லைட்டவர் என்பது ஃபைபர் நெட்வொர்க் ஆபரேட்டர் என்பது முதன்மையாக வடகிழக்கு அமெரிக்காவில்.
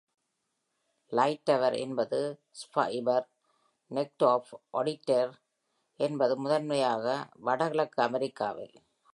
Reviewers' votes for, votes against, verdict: 0, 2, rejected